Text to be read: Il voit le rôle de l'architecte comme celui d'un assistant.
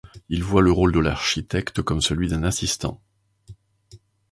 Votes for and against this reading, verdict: 2, 0, accepted